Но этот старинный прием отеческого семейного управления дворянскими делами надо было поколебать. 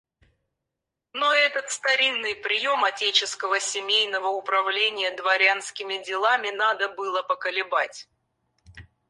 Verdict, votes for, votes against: rejected, 2, 4